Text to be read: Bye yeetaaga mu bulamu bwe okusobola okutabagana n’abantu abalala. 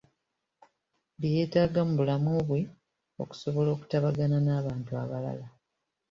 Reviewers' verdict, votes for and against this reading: accepted, 2, 1